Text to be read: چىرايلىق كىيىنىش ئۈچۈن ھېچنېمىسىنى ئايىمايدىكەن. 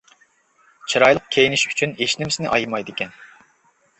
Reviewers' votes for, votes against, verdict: 2, 0, accepted